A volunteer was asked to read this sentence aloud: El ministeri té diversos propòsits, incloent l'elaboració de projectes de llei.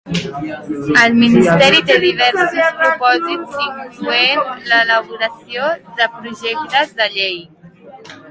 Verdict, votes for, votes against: rejected, 1, 3